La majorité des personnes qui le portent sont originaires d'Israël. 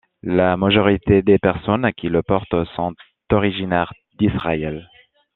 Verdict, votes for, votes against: rejected, 0, 2